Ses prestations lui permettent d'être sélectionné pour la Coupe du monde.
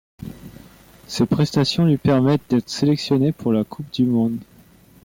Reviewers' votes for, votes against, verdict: 2, 0, accepted